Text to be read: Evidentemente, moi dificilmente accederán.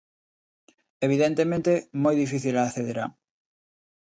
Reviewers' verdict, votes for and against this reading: rejected, 0, 2